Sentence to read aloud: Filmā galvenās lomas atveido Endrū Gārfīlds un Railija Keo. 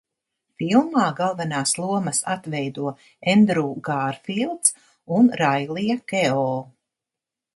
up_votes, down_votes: 2, 0